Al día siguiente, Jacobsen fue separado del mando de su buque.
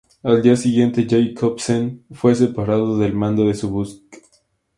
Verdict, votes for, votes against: accepted, 2, 0